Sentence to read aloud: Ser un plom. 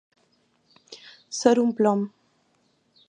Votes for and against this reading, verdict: 2, 0, accepted